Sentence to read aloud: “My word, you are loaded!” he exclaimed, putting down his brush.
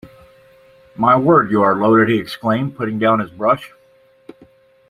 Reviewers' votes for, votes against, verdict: 2, 0, accepted